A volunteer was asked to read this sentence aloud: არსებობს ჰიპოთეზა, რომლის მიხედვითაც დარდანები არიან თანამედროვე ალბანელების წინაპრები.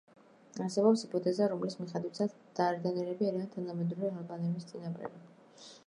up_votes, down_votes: 0, 2